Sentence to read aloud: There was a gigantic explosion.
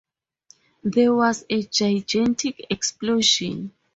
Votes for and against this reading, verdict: 2, 4, rejected